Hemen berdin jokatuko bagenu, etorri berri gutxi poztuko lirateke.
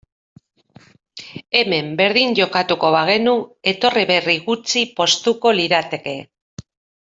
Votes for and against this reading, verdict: 2, 0, accepted